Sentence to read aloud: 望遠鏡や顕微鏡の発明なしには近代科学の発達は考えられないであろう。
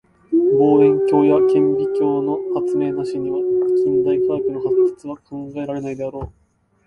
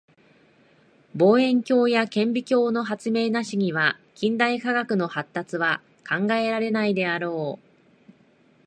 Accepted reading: second